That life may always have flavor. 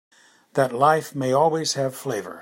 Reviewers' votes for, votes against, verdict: 2, 0, accepted